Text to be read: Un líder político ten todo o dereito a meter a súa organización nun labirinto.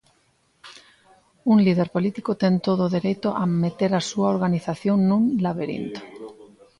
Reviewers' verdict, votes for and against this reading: rejected, 1, 2